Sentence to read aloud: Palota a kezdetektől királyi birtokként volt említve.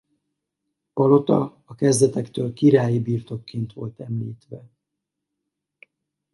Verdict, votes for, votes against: accepted, 4, 2